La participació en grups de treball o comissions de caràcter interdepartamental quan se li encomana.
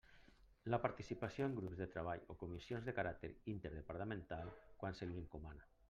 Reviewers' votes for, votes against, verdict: 2, 0, accepted